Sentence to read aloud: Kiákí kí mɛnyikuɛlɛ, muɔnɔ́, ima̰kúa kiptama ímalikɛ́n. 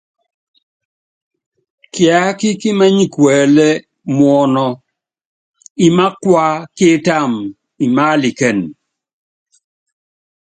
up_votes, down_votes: 2, 1